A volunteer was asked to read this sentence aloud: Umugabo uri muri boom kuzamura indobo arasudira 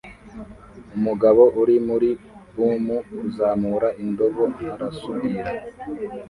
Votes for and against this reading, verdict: 2, 0, accepted